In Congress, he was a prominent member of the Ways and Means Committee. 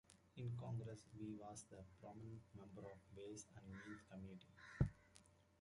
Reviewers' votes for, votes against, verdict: 0, 2, rejected